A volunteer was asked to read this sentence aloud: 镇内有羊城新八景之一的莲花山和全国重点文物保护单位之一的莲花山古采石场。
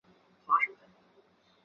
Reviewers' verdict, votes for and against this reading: rejected, 1, 2